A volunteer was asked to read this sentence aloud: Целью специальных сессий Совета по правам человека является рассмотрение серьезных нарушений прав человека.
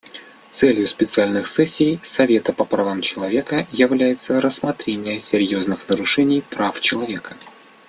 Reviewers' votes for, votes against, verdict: 2, 0, accepted